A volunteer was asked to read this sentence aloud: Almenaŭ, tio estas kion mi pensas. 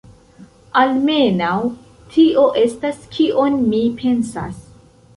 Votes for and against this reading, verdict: 0, 2, rejected